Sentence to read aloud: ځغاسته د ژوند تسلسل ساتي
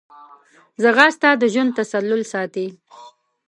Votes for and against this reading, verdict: 2, 4, rejected